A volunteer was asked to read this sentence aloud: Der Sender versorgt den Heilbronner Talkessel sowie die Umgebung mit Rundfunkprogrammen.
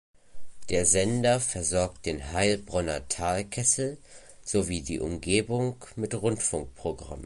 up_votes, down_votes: 1, 2